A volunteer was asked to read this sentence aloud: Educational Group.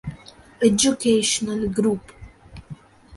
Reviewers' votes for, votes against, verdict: 2, 0, accepted